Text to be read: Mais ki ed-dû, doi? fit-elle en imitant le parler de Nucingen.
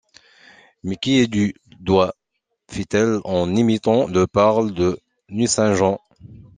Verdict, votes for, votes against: rejected, 1, 2